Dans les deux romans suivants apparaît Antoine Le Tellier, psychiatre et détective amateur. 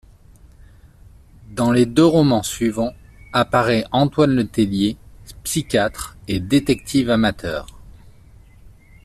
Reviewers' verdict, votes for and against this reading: accepted, 2, 0